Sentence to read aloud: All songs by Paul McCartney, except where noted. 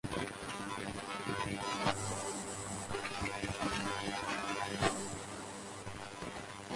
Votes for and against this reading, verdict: 0, 4, rejected